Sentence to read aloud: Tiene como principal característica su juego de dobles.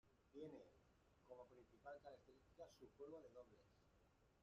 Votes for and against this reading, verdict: 0, 2, rejected